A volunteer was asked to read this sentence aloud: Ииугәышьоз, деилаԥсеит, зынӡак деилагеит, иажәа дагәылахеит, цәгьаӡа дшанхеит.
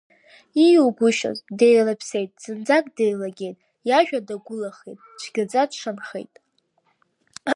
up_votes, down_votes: 1, 2